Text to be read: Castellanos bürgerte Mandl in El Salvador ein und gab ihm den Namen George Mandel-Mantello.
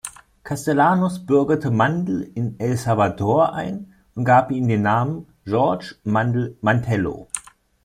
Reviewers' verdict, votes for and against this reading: accepted, 2, 0